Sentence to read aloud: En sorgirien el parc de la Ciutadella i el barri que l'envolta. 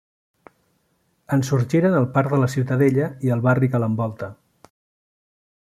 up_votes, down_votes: 0, 2